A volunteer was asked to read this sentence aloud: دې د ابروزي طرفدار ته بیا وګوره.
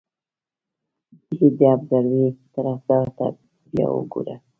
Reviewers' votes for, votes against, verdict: 0, 2, rejected